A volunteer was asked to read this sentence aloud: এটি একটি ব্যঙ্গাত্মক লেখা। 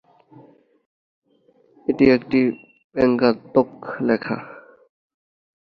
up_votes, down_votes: 2, 0